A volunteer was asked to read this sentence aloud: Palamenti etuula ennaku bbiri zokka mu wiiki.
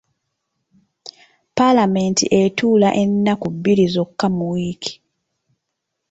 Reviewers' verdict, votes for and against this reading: accepted, 2, 0